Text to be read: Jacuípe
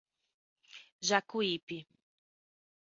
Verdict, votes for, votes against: accepted, 3, 0